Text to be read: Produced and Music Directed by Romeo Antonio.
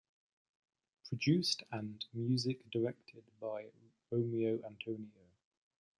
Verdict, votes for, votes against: accepted, 2, 0